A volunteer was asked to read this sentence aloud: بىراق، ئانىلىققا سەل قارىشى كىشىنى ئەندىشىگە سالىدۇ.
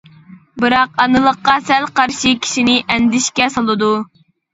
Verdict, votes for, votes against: rejected, 0, 2